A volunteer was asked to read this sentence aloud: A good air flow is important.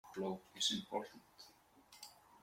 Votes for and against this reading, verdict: 0, 2, rejected